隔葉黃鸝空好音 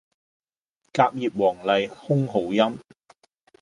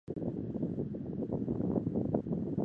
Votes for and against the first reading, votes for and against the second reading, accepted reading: 2, 0, 0, 2, first